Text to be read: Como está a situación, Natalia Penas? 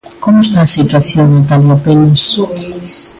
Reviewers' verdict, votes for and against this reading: rejected, 0, 2